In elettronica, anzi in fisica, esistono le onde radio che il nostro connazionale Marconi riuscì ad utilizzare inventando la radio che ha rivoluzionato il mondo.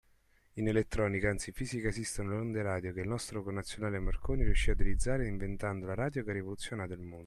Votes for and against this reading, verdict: 2, 0, accepted